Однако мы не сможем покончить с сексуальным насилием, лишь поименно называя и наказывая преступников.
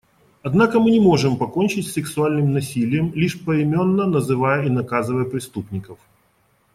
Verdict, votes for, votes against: rejected, 1, 2